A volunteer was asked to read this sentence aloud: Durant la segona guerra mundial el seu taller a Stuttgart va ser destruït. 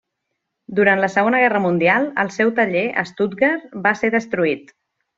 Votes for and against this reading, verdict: 2, 0, accepted